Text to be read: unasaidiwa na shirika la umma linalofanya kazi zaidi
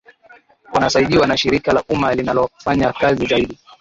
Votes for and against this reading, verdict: 0, 2, rejected